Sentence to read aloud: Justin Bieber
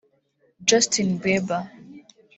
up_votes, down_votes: 0, 2